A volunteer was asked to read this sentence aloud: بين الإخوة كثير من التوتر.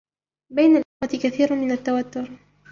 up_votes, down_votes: 2, 0